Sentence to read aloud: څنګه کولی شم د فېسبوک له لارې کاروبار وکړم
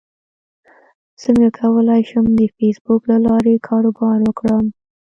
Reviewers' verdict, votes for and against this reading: accepted, 2, 0